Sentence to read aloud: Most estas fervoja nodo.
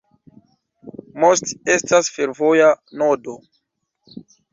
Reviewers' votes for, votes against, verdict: 0, 2, rejected